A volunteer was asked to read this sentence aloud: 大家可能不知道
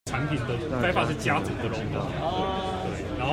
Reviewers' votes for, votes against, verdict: 0, 2, rejected